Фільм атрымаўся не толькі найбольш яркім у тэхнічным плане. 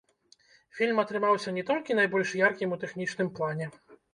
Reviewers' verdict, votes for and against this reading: rejected, 0, 2